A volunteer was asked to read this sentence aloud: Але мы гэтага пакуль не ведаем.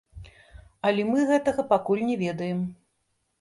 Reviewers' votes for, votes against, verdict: 1, 2, rejected